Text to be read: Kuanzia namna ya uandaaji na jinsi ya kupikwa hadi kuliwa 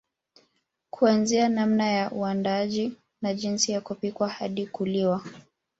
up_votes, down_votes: 2, 0